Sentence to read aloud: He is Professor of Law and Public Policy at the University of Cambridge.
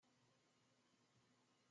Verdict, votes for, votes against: rejected, 0, 2